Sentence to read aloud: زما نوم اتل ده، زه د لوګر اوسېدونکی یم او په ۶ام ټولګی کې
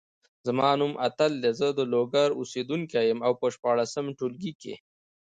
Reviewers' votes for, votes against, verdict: 0, 2, rejected